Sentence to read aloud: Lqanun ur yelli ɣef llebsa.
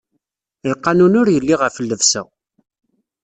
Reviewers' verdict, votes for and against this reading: accepted, 2, 0